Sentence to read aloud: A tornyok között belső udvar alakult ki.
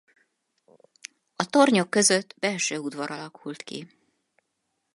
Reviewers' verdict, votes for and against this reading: accepted, 4, 0